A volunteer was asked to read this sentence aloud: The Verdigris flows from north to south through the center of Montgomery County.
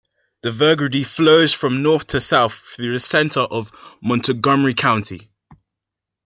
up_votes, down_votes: 2, 1